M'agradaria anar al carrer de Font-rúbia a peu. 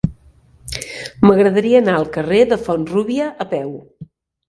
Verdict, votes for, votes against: accepted, 4, 1